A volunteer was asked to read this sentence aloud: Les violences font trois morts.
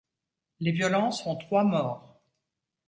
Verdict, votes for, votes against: accepted, 2, 0